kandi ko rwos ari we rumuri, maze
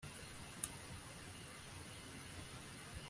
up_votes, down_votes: 0, 2